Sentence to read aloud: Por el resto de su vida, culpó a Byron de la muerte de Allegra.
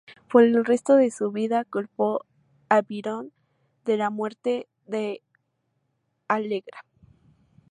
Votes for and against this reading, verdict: 0, 2, rejected